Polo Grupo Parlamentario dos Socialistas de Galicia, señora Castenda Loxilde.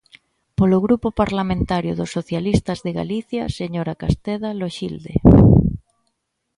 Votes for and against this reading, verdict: 1, 2, rejected